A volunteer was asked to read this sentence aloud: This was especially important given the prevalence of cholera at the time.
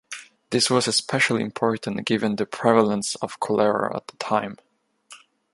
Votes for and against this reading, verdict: 2, 0, accepted